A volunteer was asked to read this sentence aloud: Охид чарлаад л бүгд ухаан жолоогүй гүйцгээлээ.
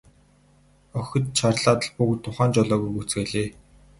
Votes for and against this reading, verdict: 2, 2, rejected